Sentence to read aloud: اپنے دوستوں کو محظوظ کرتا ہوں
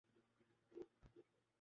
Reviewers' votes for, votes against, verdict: 1, 5, rejected